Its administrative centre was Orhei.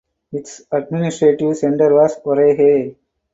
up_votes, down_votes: 4, 0